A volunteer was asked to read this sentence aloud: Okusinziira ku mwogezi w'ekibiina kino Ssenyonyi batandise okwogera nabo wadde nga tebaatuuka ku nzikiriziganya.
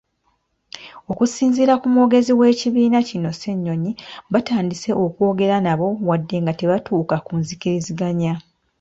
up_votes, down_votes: 1, 2